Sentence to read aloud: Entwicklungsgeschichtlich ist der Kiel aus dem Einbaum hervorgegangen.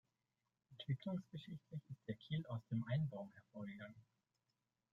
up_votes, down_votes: 0, 2